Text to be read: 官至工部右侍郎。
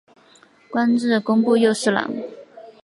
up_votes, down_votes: 5, 0